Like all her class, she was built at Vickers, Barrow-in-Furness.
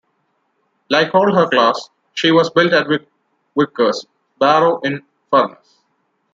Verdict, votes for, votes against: rejected, 1, 2